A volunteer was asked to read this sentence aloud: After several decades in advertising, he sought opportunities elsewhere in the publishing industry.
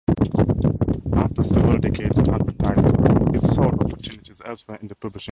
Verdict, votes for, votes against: rejected, 0, 2